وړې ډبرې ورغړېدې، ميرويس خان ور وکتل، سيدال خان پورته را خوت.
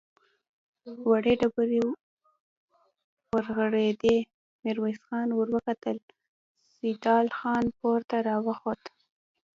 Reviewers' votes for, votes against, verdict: 1, 2, rejected